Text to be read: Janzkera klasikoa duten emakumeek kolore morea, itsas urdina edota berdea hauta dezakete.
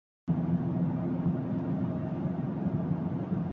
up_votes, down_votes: 0, 6